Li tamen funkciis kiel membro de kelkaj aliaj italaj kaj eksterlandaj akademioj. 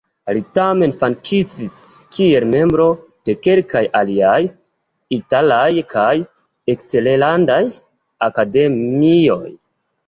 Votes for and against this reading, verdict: 2, 0, accepted